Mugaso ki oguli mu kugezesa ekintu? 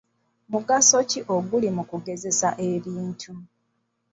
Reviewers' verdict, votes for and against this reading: rejected, 1, 2